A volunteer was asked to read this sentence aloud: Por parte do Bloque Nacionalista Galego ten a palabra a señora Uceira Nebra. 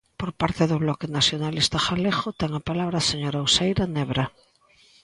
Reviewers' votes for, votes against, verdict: 2, 0, accepted